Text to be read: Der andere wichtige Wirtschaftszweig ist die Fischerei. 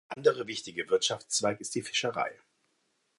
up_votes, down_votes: 0, 2